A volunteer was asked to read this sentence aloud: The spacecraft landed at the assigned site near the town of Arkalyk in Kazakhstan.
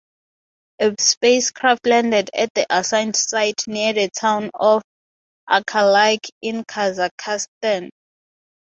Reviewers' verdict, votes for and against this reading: accepted, 6, 3